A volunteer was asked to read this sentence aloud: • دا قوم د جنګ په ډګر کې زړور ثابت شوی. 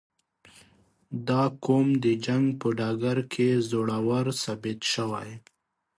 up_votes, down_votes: 3, 1